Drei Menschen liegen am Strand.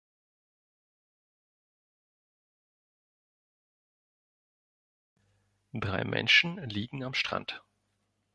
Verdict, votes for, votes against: rejected, 2, 4